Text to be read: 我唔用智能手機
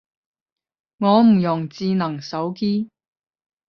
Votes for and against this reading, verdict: 5, 10, rejected